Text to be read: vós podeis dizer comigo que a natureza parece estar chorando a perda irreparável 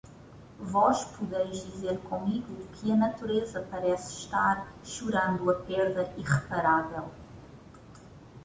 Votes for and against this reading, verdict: 2, 0, accepted